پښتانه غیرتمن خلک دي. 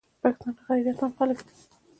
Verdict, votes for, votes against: accepted, 2, 0